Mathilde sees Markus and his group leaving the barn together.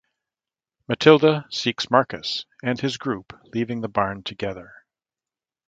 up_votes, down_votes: 0, 2